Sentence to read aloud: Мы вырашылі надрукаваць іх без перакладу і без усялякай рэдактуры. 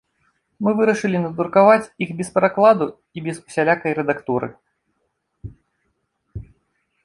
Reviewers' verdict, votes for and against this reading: accepted, 2, 0